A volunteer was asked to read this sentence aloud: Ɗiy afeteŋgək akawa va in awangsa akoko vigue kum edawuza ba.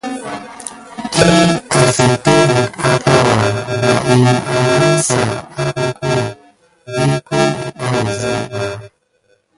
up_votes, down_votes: 0, 3